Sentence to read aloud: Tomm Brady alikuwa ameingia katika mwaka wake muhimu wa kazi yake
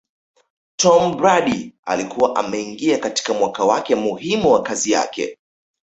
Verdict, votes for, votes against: rejected, 1, 2